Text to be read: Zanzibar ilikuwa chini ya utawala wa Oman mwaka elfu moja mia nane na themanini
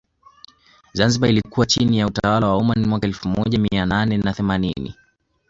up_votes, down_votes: 0, 2